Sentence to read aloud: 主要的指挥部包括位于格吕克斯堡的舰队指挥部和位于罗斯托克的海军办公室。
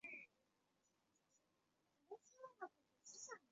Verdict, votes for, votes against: rejected, 0, 2